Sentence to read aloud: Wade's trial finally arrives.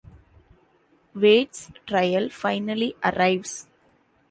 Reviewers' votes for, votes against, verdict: 2, 0, accepted